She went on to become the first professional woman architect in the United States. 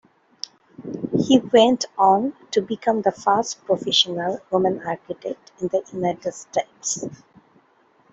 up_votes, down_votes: 0, 3